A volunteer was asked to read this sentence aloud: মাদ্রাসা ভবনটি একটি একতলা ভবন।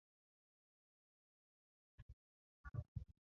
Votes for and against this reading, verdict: 0, 2, rejected